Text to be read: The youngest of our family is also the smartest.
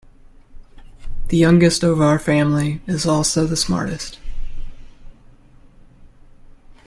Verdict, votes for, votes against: accepted, 2, 0